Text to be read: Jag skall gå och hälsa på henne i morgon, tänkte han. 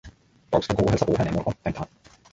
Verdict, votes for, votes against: rejected, 0, 2